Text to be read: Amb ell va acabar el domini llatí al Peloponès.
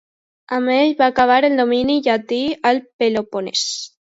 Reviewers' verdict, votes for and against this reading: accepted, 2, 0